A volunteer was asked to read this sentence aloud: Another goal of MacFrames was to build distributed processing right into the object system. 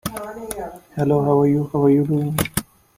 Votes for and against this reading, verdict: 0, 2, rejected